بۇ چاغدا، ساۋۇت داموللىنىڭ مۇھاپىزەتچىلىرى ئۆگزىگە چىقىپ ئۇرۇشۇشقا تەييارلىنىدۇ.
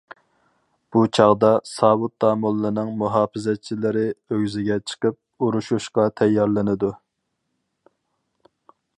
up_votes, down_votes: 4, 0